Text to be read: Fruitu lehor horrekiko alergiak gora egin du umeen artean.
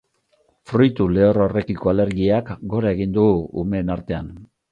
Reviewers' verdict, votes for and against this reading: accepted, 2, 0